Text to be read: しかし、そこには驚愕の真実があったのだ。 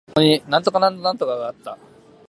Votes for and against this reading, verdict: 0, 2, rejected